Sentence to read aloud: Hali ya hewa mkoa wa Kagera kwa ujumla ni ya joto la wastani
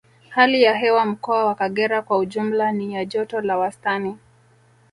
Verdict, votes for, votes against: rejected, 0, 2